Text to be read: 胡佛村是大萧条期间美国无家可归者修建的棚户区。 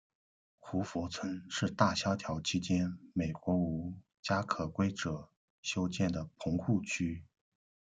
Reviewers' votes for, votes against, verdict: 1, 2, rejected